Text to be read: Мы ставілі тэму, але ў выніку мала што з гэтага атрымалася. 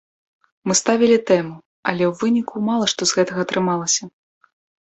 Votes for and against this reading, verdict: 2, 0, accepted